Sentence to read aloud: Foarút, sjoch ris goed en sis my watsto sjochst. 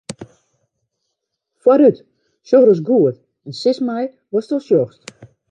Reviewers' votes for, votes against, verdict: 1, 2, rejected